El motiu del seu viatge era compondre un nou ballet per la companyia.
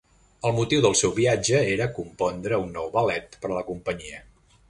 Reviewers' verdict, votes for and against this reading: rejected, 1, 2